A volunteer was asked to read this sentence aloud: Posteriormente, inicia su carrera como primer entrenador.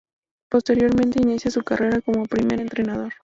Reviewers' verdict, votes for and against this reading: rejected, 2, 2